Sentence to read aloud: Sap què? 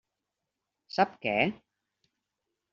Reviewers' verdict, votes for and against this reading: accepted, 3, 0